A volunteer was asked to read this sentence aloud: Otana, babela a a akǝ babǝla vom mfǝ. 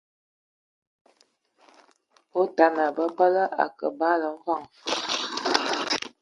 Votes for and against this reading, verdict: 0, 2, rejected